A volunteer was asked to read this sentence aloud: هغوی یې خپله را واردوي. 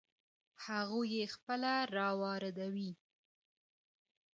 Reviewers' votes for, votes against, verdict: 1, 2, rejected